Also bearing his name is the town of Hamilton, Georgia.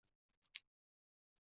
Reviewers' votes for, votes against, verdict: 0, 2, rejected